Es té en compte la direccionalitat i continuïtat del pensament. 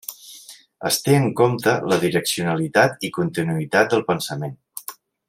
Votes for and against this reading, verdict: 3, 1, accepted